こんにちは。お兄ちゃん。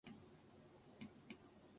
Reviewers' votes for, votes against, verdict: 0, 2, rejected